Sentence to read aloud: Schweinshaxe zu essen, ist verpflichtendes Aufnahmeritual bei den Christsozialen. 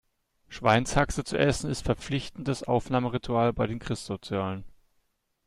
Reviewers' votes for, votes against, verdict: 2, 0, accepted